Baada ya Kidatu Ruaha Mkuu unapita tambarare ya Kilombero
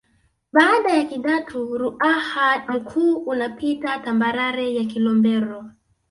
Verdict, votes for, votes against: accepted, 2, 0